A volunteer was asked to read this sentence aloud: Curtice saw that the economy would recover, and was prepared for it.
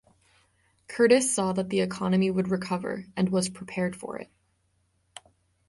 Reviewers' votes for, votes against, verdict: 3, 3, rejected